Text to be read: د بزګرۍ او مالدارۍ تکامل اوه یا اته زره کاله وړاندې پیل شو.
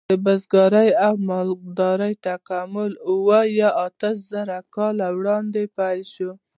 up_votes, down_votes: 2, 0